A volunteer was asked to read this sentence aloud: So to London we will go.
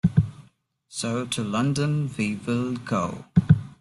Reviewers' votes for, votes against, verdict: 2, 1, accepted